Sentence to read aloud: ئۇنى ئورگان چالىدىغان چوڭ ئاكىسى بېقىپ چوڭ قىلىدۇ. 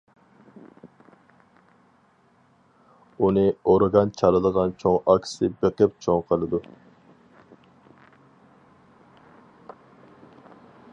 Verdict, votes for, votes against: accepted, 4, 0